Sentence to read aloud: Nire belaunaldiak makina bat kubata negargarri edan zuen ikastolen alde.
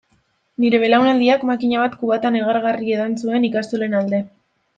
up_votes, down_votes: 2, 0